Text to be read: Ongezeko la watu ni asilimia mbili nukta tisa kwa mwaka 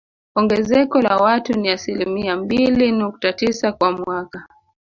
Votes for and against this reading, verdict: 5, 0, accepted